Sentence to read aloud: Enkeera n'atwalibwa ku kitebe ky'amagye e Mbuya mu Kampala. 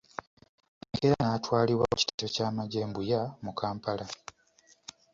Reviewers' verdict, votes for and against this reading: rejected, 1, 2